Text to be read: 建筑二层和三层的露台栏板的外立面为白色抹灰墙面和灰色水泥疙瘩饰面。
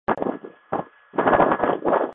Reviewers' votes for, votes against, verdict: 1, 2, rejected